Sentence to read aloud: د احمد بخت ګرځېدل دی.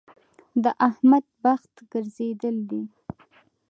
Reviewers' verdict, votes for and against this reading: accepted, 2, 0